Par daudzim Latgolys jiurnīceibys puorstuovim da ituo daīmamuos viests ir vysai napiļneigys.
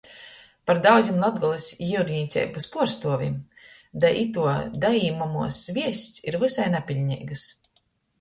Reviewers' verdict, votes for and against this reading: accepted, 2, 0